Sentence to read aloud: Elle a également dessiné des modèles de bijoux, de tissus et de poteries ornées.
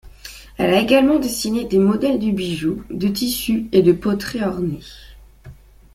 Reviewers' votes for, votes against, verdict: 1, 2, rejected